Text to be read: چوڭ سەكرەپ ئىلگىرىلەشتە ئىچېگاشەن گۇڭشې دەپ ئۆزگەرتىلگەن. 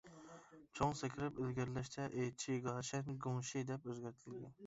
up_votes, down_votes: 0, 2